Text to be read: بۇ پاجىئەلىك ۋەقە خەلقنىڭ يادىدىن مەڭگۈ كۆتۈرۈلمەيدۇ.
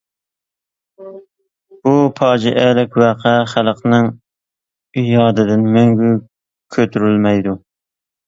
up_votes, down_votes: 2, 1